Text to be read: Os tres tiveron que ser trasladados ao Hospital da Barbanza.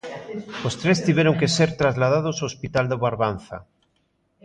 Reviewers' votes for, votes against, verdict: 2, 0, accepted